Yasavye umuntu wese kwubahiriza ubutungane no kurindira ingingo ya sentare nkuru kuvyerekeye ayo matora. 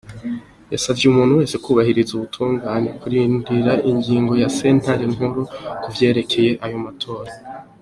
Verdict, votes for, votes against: accepted, 2, 1